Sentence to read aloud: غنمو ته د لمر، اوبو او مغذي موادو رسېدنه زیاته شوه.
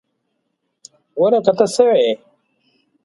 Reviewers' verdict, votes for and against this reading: rejected, 0, 2